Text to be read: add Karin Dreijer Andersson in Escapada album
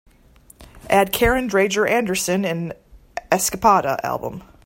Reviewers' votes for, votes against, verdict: 2, 0, accepted